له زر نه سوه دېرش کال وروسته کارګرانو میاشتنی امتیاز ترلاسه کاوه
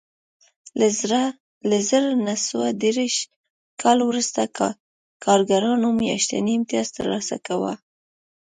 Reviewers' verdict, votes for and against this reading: rejected, 1, 2